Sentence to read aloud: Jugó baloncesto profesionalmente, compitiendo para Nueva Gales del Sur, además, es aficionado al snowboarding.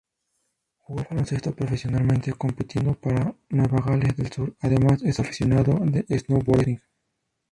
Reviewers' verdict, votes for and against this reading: rejected, 0, 2